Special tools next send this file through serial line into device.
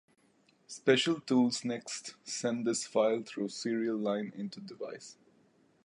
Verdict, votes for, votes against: rejected, 1, 2